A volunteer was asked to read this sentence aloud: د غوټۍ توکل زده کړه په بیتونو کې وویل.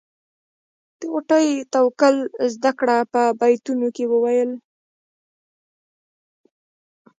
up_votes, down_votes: 1, 2